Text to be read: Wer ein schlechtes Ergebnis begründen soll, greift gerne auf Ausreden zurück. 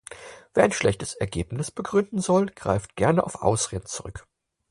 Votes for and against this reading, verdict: 4, 0, accepted